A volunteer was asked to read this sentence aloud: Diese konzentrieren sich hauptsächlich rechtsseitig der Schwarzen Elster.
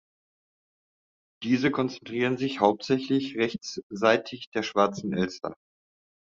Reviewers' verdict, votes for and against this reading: accepted, 2, 0